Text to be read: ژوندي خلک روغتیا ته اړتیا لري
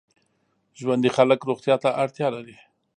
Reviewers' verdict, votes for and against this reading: accepted, 2, 0